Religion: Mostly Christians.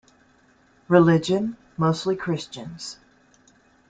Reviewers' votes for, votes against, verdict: 2, 0, accepted